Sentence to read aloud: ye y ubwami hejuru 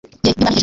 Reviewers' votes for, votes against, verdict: 0, 2, rejected